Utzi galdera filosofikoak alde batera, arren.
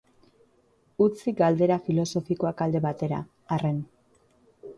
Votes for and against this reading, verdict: 2, 0, accepted